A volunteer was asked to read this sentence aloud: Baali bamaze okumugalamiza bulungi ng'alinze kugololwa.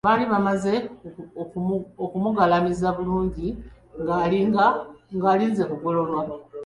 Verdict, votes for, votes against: rejected, 1, 2